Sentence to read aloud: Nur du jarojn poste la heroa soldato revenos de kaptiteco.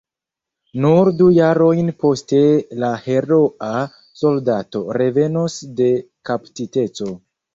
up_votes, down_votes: 2, 0